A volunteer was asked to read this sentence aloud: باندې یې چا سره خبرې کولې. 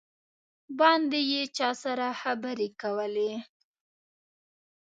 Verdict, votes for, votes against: rejected, 0, 2